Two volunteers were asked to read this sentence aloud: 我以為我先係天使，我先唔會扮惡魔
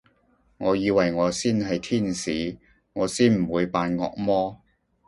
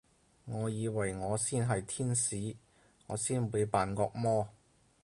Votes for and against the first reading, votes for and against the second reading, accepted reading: 2, 0, 0, 4, first